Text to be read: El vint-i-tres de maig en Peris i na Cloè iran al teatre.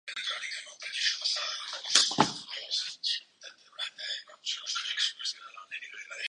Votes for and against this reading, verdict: 0, 2, rejected